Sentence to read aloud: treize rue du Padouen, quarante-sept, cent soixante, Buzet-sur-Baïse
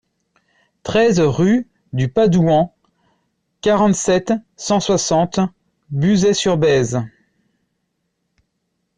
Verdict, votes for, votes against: rejected, 1, 2